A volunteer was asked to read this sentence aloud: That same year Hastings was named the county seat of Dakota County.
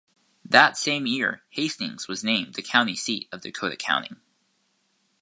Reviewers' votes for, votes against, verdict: 2, 0, accepted